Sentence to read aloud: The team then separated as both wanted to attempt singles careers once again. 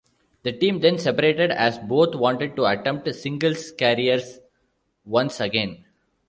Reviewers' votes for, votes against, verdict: 1, 2, rejected